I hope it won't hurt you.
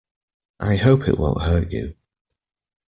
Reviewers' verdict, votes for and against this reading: accepted, 2, 0